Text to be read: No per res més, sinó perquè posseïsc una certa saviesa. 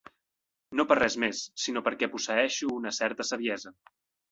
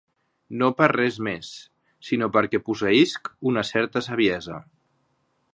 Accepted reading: second